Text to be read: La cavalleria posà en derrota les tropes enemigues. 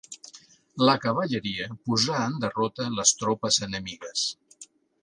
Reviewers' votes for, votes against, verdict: 2, 0, accepted